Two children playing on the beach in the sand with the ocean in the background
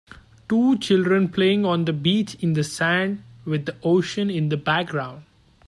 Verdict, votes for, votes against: accepted, 2, 0